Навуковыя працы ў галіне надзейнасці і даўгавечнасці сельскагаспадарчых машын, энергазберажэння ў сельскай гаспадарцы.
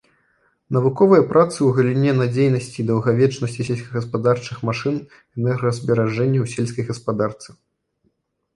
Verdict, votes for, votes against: rejected, 1, 2